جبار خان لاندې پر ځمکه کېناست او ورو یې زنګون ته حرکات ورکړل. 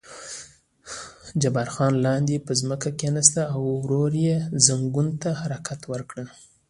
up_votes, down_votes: 2, 0